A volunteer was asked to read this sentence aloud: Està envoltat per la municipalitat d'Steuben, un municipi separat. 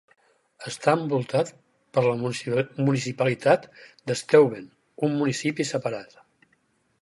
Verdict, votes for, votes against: rejected, 2, 4